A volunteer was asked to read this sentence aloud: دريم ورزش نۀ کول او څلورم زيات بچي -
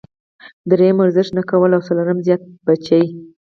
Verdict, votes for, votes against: accepted, 4, 0